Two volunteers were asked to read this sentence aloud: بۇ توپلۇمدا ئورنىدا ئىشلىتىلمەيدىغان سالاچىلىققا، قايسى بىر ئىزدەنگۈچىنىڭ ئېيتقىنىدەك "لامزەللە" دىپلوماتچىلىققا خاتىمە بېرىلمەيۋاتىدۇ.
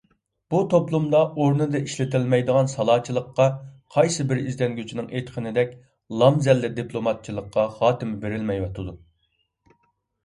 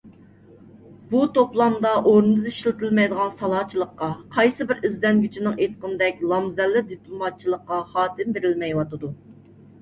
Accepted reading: first